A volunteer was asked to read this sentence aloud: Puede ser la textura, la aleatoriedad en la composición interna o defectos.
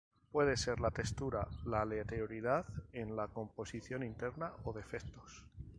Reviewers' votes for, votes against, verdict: 0, 2, rejected